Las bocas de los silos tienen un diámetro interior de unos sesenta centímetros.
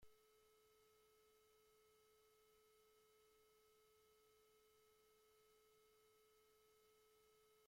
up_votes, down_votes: 0, 2